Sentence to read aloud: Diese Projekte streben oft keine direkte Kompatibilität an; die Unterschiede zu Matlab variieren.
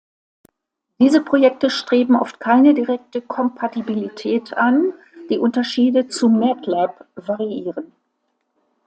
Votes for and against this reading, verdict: 2, 0, accepted